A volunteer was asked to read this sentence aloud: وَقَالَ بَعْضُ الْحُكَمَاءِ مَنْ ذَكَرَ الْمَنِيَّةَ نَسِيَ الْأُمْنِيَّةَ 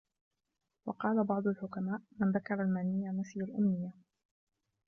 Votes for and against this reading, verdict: 1, 2, rejected